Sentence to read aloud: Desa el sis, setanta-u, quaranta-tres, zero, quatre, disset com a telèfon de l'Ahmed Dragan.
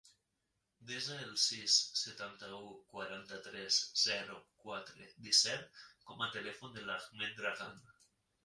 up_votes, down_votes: 1, 2